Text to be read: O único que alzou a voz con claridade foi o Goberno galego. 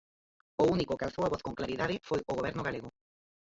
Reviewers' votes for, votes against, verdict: 0, 4, rejected